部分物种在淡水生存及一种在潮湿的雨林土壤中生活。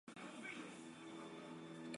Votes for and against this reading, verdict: 1, 3, rejected